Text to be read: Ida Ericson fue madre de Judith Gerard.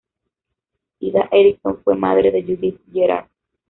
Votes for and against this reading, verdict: 1, 2, rejected